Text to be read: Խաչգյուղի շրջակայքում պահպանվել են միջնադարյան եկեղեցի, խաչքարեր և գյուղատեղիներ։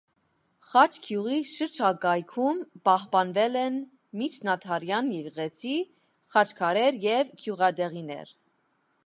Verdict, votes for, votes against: accepted, 2, 0